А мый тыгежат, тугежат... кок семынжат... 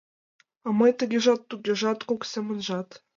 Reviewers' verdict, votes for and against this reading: rejected, 1, 2